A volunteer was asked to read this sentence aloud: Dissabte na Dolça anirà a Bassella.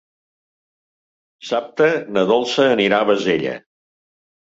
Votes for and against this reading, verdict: 1, 2, rejected